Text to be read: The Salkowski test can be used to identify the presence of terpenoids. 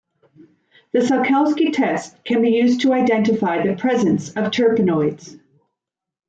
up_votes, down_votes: 2, 0